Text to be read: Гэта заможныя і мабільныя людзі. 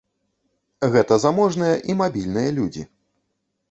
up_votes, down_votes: 2, 0